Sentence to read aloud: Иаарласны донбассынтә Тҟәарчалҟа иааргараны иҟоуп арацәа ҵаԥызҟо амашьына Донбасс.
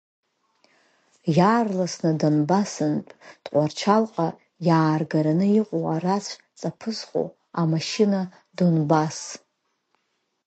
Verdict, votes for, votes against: rejected, 2, 3